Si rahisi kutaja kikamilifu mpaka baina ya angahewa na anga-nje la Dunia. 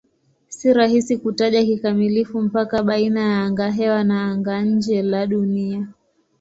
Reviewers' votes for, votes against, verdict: 3, 3, rejected